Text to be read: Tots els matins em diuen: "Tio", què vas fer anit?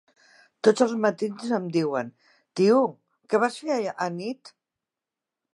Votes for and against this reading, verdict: 1, 2, rejected